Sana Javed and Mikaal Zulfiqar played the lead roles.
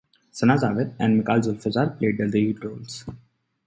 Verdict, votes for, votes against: rejected, 0, 2